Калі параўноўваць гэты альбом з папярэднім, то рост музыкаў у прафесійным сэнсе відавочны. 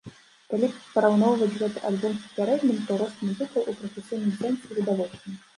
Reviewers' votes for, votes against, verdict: 1, 2, rejected